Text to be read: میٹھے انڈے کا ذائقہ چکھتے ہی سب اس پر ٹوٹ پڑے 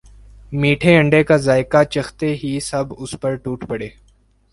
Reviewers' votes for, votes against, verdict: 2, 0, accepted